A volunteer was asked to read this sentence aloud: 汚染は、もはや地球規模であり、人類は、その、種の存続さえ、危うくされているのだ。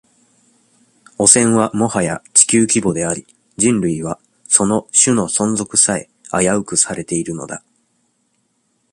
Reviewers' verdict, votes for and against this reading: accepted, 2, 0